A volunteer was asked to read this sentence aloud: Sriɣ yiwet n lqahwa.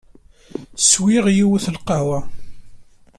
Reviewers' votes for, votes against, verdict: 1, 2, rejected